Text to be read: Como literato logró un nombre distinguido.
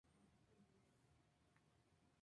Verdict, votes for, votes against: rejected, 0, 2